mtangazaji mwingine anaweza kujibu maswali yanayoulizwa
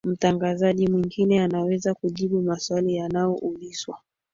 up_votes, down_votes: 2, 3